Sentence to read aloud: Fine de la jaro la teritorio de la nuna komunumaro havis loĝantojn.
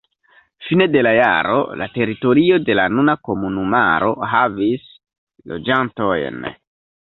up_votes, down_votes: 1, 2